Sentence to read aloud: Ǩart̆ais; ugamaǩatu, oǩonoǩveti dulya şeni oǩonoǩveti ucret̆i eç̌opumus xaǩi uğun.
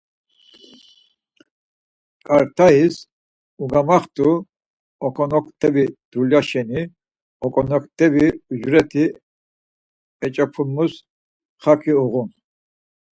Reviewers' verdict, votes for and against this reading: rejected, 2, 4